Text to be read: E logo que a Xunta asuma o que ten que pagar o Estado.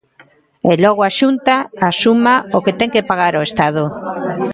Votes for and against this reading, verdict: 0, 2, rejected